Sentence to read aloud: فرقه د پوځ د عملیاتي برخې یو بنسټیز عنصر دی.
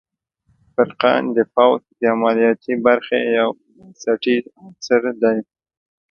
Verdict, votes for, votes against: rejected, 0, 2